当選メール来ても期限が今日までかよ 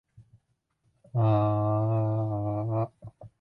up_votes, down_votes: 0, 2